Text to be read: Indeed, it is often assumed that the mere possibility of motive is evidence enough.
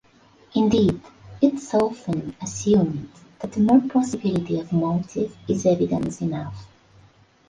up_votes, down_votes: 1, 2